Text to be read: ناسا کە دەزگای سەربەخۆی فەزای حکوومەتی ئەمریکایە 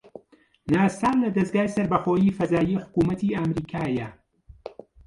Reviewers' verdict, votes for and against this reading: rejected, 1, 2